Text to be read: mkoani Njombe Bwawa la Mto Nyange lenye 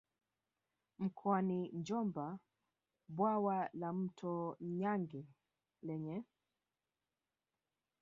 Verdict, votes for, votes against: rejected, 0, 3